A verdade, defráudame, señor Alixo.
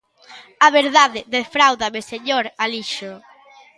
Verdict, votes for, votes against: rejected, 0, 2